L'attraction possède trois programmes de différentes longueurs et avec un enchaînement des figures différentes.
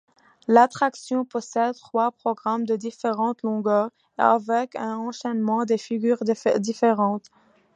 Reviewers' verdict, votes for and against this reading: rejected, 1, 2